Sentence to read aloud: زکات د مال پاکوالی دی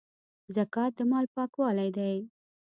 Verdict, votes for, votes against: accepted, 2, 1